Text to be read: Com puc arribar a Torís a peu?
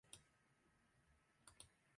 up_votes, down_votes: 0, 2